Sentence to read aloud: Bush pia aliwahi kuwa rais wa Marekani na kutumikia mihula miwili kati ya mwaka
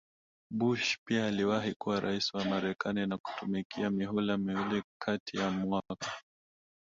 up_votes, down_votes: 1, 2